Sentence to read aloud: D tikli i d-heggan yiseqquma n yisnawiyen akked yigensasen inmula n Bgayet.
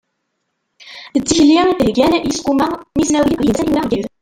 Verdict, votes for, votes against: rejected, 0, 2